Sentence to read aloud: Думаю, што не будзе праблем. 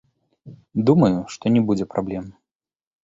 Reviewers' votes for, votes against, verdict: 2, 0, accepted